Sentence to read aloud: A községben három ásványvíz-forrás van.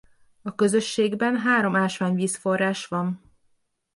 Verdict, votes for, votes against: rejected, 0, 2